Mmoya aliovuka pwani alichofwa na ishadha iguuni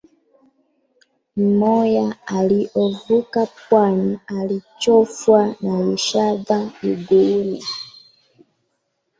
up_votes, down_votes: 1, 2